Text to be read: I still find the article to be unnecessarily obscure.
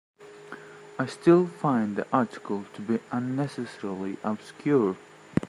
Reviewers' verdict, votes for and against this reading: accepted, 2, 1